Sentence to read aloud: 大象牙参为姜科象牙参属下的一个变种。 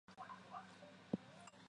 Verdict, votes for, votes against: rejected, 0, 2